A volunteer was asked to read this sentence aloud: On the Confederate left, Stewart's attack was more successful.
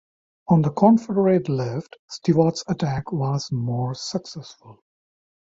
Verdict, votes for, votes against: rejected, 0, 2